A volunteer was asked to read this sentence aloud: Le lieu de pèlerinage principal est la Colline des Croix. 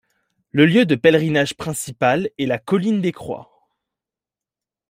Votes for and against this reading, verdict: 2, 0, accepted